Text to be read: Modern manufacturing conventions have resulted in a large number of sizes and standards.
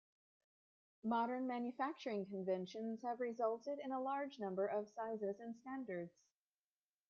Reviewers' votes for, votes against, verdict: 2, 1, accepted